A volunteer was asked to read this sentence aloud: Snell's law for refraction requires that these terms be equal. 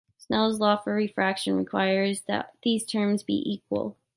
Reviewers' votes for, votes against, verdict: 2, 0, accepted